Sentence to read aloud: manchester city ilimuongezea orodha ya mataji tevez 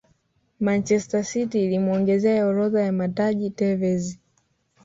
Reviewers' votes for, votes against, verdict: 3, 1, accepted